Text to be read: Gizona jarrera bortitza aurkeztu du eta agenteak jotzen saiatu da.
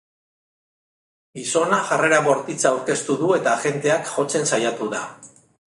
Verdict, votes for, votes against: rejected, 1, 2